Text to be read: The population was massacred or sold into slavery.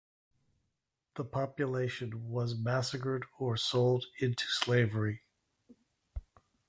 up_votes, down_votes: 2, 0